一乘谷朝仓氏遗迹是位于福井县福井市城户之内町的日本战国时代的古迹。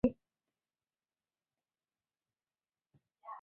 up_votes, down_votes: 0, 2